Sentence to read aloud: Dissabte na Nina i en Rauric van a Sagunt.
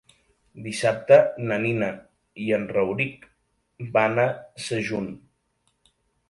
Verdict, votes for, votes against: rejected, 1, 2